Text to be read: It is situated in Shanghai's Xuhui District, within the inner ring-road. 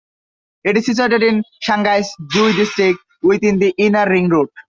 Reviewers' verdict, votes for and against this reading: rejected, 0, 2